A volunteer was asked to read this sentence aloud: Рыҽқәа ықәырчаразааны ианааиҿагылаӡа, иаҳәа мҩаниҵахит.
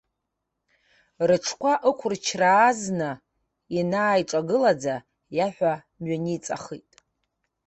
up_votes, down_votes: 1, 2